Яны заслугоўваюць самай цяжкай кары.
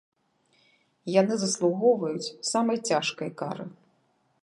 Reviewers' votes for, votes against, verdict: 3, 0, accepted